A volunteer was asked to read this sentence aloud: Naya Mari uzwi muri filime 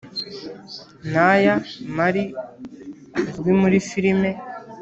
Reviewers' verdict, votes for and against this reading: accepted, 4, 0